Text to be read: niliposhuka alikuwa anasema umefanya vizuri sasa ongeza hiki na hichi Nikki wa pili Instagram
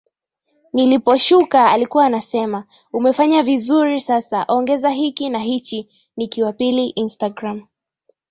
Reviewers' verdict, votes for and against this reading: accepted, 5, 2